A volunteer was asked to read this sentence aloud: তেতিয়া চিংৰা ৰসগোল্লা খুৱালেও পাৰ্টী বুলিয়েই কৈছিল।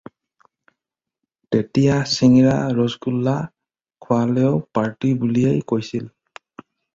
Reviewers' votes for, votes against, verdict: 0, 2, rejected